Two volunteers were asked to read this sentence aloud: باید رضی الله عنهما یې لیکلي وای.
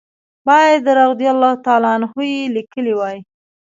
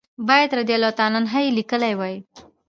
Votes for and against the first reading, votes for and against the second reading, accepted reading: 1, 2, 3, 0, second